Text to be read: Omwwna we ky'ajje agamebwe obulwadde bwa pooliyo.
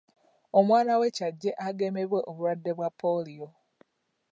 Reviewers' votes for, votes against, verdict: 0, 2, rejected